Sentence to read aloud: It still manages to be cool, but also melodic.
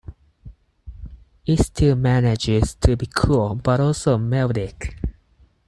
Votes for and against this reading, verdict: 4, 0, accepted